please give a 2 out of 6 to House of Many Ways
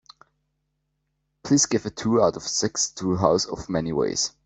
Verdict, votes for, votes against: rejected, 0, 2